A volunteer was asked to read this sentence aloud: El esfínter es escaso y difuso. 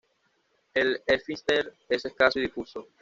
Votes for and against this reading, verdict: 1, 2, rejected